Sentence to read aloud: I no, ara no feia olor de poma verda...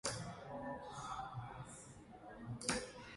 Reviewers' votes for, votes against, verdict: 1, 2, rejected